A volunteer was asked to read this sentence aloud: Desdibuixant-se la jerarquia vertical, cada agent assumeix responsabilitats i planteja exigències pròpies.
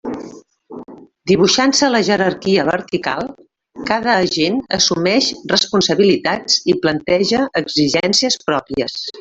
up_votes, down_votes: 1, 2